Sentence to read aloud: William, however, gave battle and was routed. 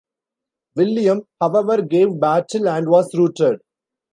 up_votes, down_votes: 0, 2